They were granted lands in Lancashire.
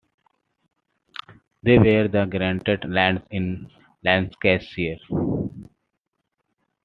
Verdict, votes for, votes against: accepted, 2, 0